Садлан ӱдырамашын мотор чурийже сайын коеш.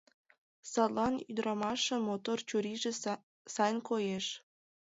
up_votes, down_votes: 2, 0